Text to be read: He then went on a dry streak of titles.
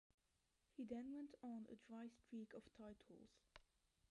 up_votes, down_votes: 1, 2